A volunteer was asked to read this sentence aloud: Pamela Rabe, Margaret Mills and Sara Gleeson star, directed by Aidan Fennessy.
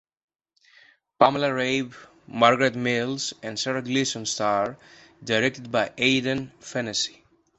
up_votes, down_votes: 2, 0